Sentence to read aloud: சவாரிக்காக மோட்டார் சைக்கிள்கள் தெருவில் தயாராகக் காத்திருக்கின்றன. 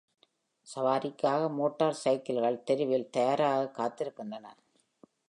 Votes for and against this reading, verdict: 2, 0, accepted